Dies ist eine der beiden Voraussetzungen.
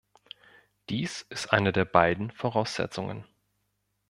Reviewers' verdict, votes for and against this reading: accepted, 2, 0